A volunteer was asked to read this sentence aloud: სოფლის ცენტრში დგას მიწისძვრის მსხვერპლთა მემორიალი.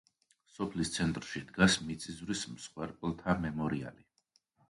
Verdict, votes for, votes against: accepted, 2, 0